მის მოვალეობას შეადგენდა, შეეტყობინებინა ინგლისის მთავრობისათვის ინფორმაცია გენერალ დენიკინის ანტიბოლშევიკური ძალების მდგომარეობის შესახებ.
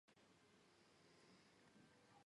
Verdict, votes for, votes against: rejected, 0, 2